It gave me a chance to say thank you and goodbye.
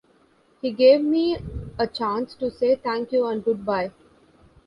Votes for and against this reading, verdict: 2, 0, accepted